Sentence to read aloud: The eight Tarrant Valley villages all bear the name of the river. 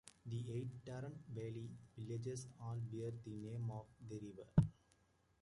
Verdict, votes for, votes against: rejected, 0, 2